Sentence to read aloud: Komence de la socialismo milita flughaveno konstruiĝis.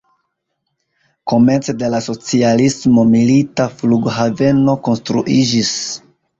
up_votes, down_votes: 1, 2